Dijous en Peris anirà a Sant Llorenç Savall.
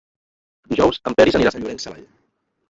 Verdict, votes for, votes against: rejected, 0, 2